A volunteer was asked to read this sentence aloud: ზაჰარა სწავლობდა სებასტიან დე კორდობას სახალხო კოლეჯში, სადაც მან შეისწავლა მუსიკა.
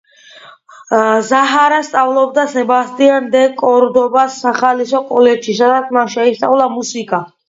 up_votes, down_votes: 0, 2